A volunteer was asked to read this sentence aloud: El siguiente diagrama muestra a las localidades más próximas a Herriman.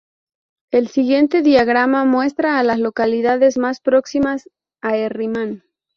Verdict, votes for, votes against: rejected, 0, 2